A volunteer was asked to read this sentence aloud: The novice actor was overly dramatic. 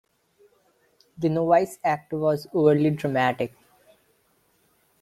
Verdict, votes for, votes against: rejected, 1, 2